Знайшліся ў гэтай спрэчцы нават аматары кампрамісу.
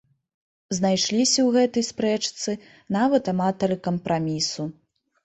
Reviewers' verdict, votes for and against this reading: rejected, 1, 2